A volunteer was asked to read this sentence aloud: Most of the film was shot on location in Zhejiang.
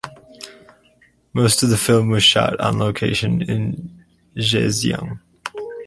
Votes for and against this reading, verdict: 2, 4, rejected